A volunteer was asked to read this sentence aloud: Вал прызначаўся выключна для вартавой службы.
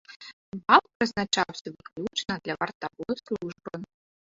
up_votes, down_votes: 0, 3